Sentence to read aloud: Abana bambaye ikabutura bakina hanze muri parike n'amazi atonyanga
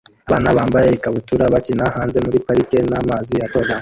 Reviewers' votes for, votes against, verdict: 0, 2, rejected